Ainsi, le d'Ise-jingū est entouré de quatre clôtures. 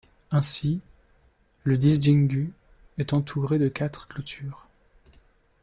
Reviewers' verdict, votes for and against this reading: rejected, 1, 2